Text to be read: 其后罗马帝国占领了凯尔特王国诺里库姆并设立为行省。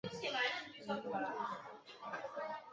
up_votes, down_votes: 0, 2